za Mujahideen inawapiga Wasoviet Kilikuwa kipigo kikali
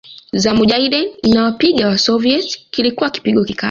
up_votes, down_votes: 0, 2